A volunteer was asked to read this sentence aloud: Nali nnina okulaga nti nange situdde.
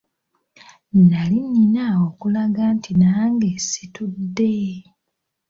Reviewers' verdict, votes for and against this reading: accepted, 2, 0